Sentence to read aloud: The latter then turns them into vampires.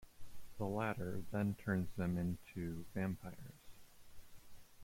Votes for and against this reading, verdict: 2, 1, accepted